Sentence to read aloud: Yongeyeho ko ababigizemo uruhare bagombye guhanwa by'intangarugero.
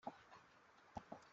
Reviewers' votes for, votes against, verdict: 0, 2, rejected